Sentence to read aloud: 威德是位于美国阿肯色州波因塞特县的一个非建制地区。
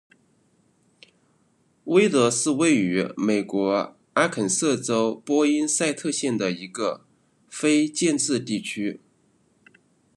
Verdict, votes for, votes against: accepted, 2, 1